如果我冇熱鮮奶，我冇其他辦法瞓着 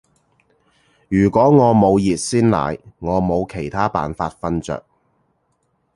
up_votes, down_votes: 2, 0